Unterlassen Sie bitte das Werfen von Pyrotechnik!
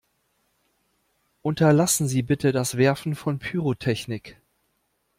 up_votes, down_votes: 2, 0